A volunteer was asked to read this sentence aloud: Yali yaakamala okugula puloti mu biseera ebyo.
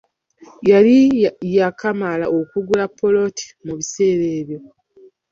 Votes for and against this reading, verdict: 0, 2, rejected